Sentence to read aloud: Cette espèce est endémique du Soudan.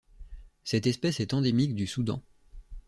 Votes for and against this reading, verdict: 1, 2, rejected